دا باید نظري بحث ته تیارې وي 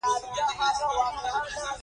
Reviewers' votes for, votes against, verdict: 2, 1, accepted